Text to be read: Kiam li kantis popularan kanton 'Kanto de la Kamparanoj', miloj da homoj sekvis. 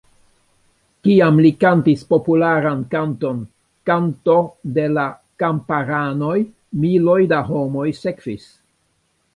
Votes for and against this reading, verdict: 2, 1, accepted